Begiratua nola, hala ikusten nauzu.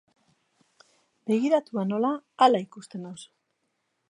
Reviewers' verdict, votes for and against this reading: accepted, 3, 1